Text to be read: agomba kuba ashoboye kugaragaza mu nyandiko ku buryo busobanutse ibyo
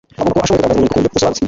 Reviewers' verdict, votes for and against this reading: rejected, 0, 2